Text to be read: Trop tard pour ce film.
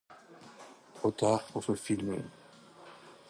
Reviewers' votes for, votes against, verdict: 2, 0, accepted